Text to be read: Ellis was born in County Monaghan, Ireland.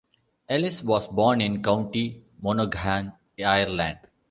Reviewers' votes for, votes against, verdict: 2, 0, accepted